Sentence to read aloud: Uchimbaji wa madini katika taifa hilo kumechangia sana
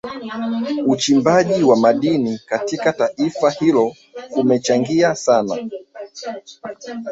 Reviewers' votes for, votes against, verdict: 0, 2, rejected